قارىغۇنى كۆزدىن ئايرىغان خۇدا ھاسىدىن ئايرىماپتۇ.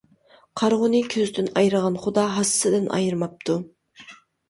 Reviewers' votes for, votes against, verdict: 1, 2, rejected